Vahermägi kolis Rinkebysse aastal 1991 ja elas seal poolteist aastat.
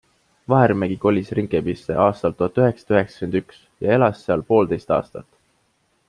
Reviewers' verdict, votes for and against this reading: rejected, 0, 2